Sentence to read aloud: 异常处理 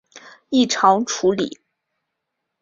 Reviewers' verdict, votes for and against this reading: accepted, 2, 0